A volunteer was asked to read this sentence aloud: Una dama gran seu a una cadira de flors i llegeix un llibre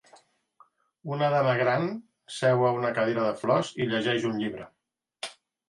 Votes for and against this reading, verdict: 2, 0, accepted